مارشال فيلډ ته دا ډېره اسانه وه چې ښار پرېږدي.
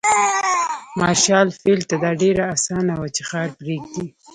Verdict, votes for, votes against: rejected, 0, 2